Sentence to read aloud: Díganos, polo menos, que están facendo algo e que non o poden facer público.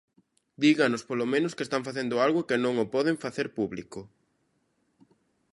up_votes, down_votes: 2, 0